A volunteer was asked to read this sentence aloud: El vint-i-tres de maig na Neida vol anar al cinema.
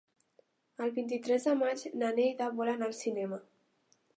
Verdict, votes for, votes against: accepted, 3, 0